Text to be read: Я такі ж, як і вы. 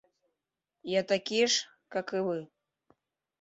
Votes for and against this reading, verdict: 0, 2, rejected